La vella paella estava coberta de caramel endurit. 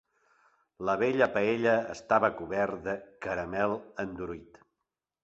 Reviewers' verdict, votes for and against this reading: rejected, 0, 2